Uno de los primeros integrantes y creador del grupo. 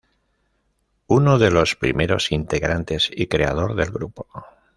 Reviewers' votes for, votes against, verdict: 2, 0, accepted